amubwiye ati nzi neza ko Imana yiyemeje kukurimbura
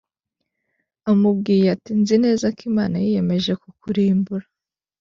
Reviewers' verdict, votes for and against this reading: accepted, 2, 0